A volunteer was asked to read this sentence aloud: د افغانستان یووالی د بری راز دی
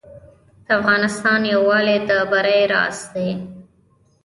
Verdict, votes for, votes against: accepted, 2, 0